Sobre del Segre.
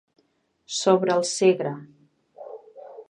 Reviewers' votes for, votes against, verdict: 0, 2, rejected